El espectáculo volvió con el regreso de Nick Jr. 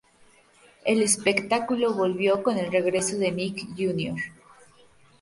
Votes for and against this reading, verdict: 2, 0, accepted